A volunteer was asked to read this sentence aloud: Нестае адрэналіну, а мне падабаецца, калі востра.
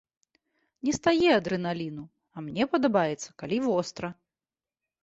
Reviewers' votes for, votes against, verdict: 2, 0, accepted